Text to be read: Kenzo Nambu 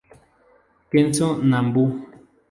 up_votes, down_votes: 0, 2